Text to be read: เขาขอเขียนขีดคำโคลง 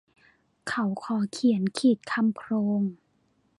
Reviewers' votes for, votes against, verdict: 2, 0, accepted